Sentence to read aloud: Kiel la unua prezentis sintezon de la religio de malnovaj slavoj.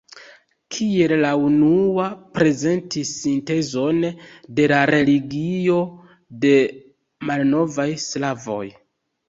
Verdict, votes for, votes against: rejected, 0, 2